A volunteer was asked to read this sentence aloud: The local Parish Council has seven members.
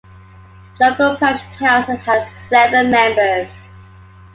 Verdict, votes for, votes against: accepted, 2, 1